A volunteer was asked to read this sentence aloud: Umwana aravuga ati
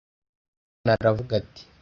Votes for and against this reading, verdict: 1, 2, rejected